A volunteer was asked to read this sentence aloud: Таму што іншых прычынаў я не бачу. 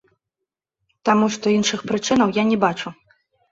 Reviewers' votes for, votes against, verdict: 0, 2, rejected